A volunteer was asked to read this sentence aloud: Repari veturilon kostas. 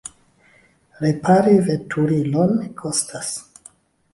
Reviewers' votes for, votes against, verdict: 3, 1, accepted